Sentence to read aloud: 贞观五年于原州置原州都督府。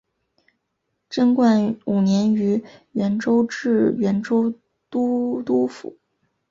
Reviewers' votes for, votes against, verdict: 2, 1, accepted